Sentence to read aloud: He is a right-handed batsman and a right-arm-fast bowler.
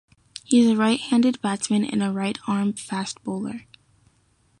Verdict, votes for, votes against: accepted, 2, 0